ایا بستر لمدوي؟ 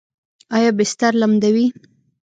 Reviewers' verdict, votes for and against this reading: rejected, 1, 2